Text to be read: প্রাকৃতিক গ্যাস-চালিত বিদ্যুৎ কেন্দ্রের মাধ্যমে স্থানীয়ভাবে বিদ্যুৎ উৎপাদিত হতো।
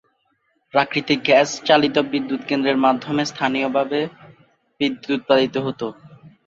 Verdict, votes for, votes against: rejected, 1, 2